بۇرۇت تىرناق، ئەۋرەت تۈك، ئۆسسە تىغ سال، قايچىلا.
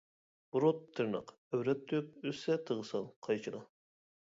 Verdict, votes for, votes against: accepted, 2, 1